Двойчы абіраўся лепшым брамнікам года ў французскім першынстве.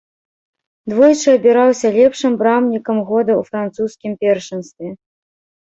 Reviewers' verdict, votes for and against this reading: accepted, 2, 0